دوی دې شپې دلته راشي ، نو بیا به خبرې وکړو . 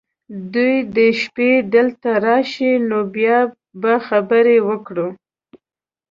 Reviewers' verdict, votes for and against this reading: accepted, 2, 0